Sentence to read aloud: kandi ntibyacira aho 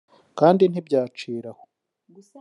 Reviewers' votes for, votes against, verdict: 0, 2, rejected